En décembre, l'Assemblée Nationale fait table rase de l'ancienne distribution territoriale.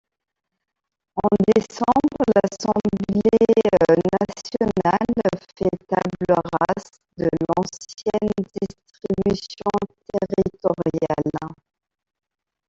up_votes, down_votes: 0, 2